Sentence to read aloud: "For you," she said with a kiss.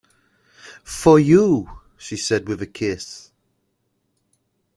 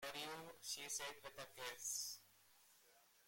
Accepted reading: first